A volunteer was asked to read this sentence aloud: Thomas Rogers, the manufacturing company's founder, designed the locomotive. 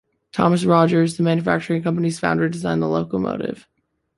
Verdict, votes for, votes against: accepted, 2, 0